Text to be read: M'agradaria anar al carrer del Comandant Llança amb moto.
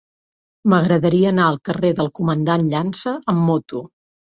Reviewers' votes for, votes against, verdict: 3, 0, accepted